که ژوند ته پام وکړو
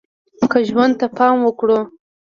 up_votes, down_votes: 1, 2